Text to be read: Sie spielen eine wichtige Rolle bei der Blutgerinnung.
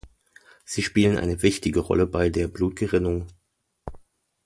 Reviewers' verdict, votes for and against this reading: accepted, 2, 0